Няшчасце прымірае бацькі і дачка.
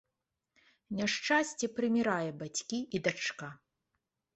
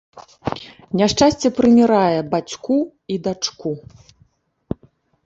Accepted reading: first